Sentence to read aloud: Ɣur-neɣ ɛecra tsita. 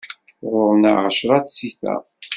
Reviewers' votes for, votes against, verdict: 2, 0, accepted